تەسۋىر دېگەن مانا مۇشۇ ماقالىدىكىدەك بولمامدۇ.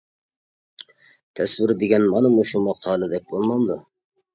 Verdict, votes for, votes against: rejected, 0, 2